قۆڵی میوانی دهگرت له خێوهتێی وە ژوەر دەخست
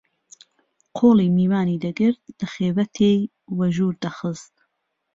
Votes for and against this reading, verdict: 2, 0, accepted